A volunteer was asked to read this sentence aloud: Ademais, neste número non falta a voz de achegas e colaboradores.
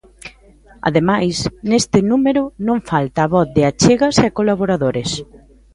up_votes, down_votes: 1, 2